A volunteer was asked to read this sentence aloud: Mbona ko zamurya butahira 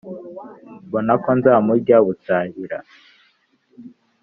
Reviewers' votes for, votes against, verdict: 1, 2, rejected